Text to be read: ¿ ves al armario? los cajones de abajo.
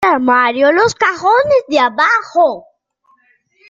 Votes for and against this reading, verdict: 0, 2, rejected